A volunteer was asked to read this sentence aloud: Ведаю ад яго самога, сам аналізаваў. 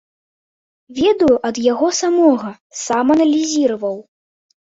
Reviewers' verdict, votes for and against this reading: rejected, 0, 2